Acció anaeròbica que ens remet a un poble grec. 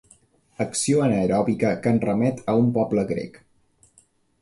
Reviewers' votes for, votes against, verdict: 1, 2, rejected